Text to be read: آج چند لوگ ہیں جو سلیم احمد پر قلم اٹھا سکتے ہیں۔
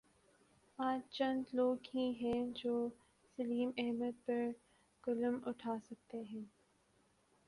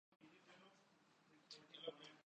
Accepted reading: first